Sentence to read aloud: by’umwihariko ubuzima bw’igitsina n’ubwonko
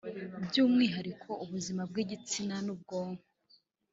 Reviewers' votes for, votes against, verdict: 2, 0, accepted